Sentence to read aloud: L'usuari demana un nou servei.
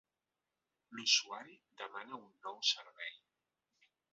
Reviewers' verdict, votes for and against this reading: accepted, 2, 1